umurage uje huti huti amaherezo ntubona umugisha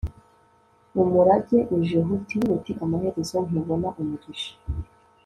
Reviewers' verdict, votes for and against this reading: accepted, 2, 0